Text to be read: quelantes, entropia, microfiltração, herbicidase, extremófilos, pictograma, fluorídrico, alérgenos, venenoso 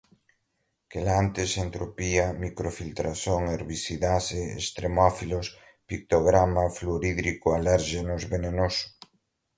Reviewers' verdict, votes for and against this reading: rejected, 1, 2